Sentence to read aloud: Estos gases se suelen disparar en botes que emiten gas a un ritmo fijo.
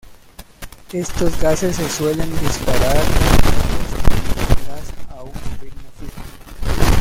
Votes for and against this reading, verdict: 0, 2, rejected